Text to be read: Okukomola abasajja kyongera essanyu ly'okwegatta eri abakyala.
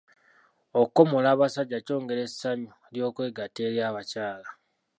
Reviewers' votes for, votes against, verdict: 2, 0, accepted